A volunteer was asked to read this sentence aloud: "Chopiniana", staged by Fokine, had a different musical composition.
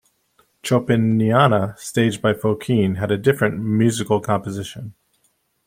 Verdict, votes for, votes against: accepted, 2, 0